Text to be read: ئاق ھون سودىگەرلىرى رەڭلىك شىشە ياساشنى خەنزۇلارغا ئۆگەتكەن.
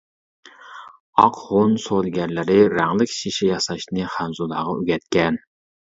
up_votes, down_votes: 0, 2